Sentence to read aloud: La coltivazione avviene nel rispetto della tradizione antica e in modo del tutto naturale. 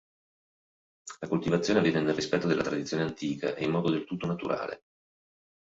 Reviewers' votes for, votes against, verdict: 2, 0, accepted